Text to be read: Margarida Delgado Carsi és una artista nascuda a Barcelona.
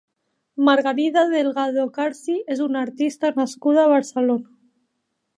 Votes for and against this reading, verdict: 2, 0, accepted